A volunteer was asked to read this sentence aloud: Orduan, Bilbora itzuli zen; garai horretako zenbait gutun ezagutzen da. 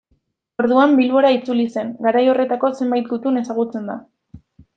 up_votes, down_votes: 0, 2